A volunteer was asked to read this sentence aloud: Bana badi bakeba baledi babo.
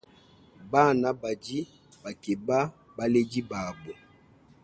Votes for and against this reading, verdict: 2, 0, accepted